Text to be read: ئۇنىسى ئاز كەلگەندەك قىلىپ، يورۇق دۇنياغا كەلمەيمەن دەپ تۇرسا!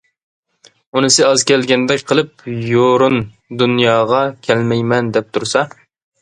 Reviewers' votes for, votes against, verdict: 1, 2, rejected